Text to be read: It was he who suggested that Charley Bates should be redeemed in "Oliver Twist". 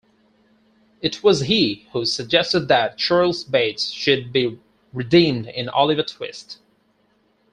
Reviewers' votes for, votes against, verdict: 0, 4, rejected